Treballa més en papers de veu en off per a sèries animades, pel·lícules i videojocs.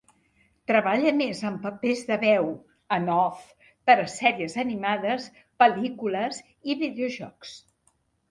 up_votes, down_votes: 2, 0